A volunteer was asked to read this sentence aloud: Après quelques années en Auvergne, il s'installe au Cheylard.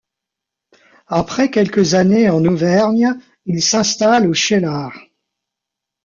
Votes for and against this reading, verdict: 2, 1, accepted